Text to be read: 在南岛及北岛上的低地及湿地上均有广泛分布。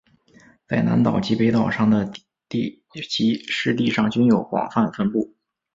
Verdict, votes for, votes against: rejected, 1, 2